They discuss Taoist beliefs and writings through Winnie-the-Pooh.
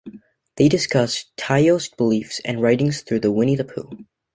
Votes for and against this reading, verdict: 2, 1, accepted